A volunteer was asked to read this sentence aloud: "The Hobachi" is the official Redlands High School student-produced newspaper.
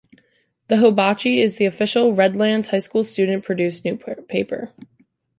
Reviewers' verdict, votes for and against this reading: rejected, 0, 2